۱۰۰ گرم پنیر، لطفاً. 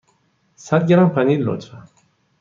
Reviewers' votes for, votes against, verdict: 0, 2, rejected